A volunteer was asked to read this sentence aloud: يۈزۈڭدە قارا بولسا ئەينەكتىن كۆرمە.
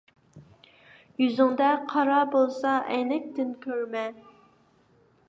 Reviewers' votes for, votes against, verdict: 2, 0, accepted